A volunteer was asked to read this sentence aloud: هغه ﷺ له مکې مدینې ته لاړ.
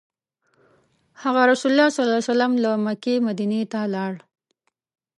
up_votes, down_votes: 1, 2